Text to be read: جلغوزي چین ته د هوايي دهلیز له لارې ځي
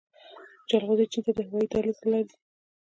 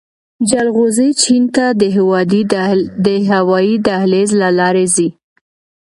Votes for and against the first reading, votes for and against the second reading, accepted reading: 2, 0, 1, 2, first